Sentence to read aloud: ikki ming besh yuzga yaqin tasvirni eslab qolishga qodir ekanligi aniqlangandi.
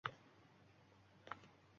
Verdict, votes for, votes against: rejected, 0, 2